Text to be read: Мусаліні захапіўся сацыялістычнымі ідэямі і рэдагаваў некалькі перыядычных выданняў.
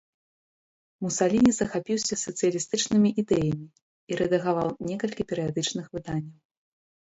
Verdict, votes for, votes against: accepted, 2, 0